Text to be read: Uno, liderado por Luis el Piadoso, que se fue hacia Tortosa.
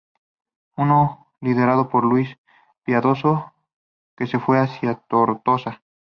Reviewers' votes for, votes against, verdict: 0, 2, rejected